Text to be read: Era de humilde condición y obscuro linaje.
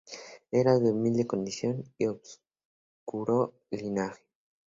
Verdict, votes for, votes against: accepted, 2, 0